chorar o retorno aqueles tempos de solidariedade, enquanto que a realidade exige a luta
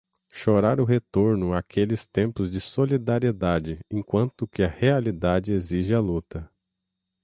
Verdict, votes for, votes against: accepted, 6, 0